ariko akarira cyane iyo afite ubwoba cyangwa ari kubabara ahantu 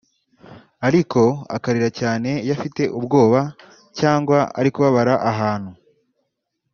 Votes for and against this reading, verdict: 1, 2, rejected